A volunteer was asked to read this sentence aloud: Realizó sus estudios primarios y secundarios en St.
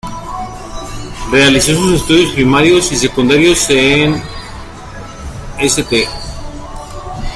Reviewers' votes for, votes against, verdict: 2, 1, accepted